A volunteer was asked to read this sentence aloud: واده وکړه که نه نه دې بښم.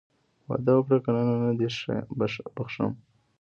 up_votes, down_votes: 1, 2